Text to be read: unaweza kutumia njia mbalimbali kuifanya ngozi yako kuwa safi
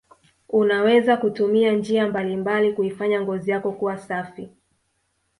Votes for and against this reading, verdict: 2, 0, accepted